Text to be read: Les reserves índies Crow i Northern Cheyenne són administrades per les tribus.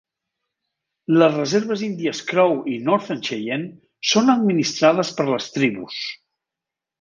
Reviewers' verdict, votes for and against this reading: accepted, 3, 0